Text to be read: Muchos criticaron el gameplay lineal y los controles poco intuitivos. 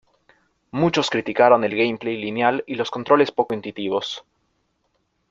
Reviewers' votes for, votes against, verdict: 2, 0, accepted